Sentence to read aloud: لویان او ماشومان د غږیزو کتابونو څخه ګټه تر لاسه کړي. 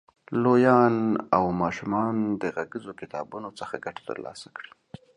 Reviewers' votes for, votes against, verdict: 2, 0, accepted